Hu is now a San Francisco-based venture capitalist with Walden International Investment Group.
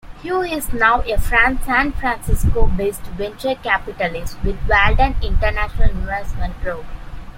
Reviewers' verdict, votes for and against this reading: accepted, 2, 1